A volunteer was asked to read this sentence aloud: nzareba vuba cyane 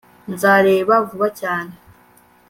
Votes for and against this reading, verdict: 2, 0, accepted